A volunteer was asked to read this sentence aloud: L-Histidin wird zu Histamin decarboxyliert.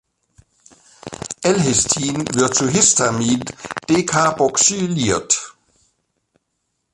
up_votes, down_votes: 0, 2